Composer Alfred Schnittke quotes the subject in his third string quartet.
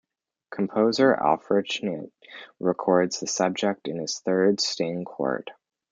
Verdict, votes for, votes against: rejected, 0, 2